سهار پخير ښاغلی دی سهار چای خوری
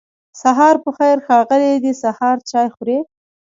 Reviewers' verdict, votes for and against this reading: rejected, 0, 2